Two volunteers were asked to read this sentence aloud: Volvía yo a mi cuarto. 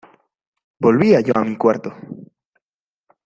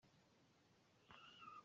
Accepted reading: first